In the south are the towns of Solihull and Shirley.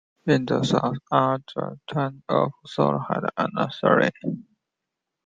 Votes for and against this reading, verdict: 0, 2, rejected